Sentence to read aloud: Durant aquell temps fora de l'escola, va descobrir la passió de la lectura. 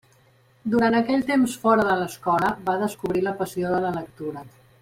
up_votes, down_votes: 3, 0